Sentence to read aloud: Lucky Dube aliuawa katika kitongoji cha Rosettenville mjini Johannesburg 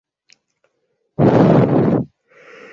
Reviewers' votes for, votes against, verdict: 0, 2, rejected